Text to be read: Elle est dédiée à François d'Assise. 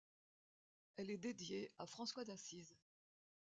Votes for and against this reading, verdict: 2, 0, accepted